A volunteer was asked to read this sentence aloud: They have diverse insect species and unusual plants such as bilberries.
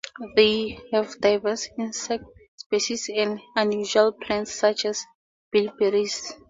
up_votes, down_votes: 0, 2